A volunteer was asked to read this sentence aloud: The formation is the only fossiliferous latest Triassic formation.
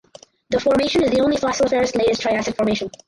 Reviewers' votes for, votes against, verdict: 2, 4, rejected